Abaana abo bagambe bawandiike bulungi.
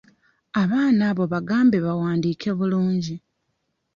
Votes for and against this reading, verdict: 2, 0, accepted